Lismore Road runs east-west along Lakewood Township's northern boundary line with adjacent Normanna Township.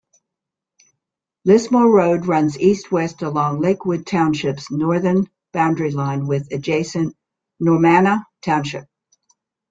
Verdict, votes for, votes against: accepted, 3, 0